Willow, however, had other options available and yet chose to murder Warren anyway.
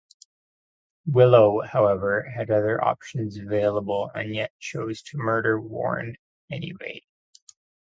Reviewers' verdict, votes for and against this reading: accepted, 2, 0